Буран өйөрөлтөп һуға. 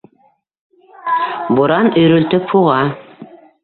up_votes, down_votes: 1, 2